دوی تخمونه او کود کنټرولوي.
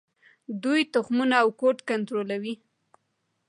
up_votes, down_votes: 2, 1